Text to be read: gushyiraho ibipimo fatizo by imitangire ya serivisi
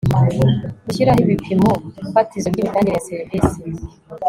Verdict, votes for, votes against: accepted, 3, 0